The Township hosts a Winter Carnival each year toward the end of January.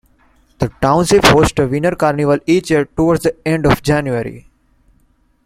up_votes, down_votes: 2, 0